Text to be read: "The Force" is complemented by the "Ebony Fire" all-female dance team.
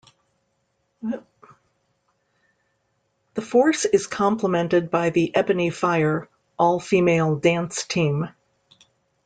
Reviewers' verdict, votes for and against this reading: rejected, 0, 2